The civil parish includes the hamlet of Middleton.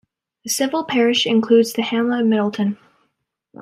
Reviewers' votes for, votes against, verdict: 2, 1, accepted